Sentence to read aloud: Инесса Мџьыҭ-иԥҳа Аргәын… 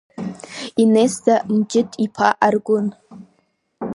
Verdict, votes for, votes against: accepted, 2, 0